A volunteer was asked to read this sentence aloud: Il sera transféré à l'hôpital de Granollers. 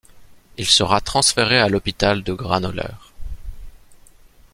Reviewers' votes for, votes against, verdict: 0, 2, rejected